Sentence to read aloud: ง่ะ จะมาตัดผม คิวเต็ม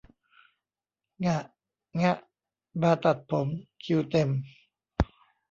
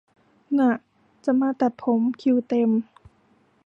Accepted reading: second